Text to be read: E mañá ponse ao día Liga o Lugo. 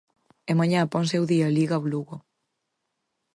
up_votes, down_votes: 4, 0